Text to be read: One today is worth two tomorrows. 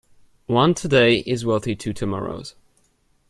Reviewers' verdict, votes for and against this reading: rejected, 1, 2